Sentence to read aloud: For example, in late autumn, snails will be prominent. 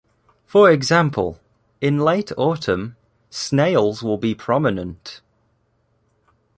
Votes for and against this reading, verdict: 2, 0, accepted